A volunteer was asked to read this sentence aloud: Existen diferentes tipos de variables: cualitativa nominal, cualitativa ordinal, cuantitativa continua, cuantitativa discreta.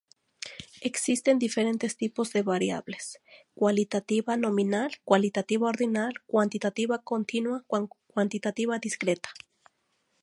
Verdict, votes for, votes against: rejected, 0, 2